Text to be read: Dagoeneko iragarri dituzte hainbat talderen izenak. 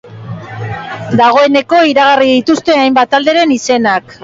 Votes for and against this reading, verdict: 2, 1, accepted